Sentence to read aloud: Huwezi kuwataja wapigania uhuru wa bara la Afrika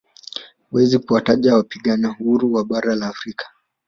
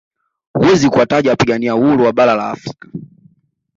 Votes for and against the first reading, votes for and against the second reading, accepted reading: 0, 2, 2, 0, second